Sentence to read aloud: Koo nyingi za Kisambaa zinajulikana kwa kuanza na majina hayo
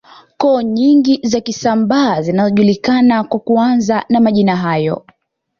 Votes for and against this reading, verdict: 2, 1, accepted